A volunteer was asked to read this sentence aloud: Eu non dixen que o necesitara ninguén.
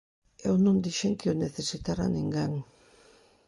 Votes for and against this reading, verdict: 2, 0, accepted